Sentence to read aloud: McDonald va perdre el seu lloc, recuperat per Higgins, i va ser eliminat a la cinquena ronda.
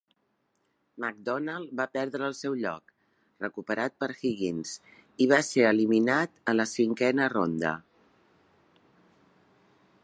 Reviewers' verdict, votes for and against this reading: accepted, 2, 0